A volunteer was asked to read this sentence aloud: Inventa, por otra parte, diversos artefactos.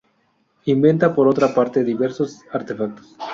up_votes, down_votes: 2, 0